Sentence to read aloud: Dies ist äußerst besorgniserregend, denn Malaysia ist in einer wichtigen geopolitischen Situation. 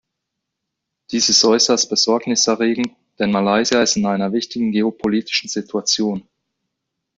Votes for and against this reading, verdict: 2, 0, accepted